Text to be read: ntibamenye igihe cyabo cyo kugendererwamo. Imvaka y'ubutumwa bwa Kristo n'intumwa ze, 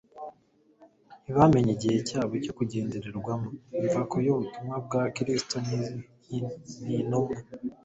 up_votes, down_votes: 1, 2